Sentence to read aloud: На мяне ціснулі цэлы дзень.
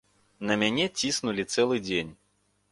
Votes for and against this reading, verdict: 2, 0, accepted